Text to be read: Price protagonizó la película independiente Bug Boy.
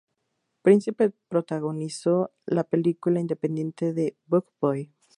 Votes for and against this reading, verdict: 0, 2, rejected